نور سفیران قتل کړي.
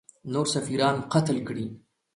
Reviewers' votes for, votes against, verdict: 2, 1, accepted